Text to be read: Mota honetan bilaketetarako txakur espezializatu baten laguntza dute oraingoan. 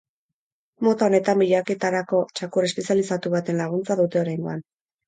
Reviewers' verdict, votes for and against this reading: accepted, 4, 0